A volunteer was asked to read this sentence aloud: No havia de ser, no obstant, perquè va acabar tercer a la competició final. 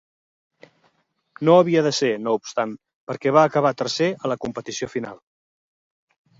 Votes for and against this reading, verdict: 4, 0, accepted